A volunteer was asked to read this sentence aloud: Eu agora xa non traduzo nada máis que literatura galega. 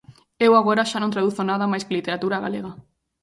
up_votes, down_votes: 2, 0